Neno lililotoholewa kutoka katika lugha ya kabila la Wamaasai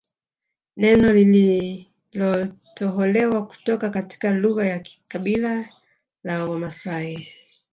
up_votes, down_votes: 0, 2